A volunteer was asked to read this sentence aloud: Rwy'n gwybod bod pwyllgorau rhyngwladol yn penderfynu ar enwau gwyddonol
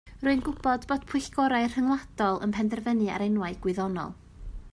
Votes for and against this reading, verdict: 2, 0, accepted